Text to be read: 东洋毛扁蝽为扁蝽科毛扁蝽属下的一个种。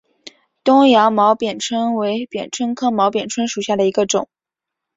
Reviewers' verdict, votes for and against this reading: accepted, 4, 1